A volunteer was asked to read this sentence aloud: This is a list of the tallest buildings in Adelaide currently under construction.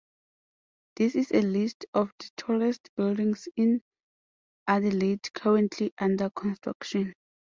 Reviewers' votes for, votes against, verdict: 2, 0, accepted